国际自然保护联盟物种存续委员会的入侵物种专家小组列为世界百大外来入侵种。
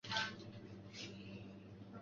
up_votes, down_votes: 0, 2